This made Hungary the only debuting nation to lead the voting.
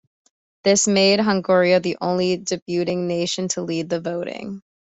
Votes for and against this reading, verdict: 2, 0, accepted